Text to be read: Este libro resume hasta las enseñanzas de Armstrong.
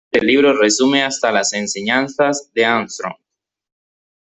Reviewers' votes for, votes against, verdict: 1, 2, rejected